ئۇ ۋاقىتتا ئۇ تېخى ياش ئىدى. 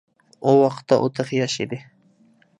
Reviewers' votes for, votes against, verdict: 2, 0, accepted